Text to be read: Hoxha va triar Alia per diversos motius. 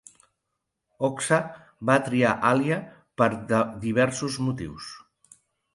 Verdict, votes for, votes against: rejected, 0, 2